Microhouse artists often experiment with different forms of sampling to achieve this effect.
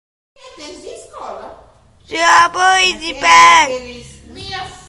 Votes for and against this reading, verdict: 0, 2, rejected